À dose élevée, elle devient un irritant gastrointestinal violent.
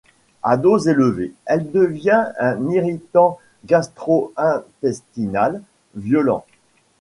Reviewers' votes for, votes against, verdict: 1, 2, rejected